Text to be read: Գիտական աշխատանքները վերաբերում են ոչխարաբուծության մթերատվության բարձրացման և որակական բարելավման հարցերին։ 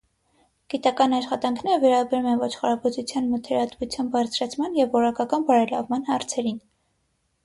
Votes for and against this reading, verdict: 3, 3, rejected